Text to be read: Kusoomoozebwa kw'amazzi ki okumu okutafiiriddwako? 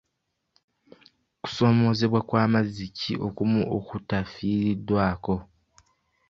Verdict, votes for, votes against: rejected, 1, 2